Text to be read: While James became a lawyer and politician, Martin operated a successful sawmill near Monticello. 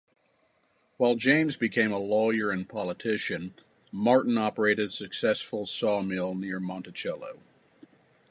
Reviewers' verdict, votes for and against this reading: accepted, 2, 0